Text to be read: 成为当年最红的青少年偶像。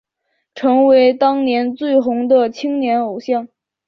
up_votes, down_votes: 6, 0